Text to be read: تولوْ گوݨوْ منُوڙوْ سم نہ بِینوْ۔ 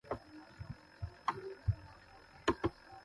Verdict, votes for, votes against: rejected, 0, 2